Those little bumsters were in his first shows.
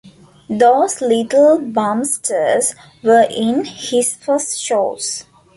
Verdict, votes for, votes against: accepted, 2, 0